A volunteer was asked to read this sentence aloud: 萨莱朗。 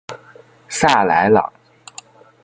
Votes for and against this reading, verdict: 2, 0, accepted